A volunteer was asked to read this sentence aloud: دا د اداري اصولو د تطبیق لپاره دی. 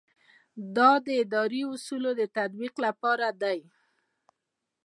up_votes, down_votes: 2, 0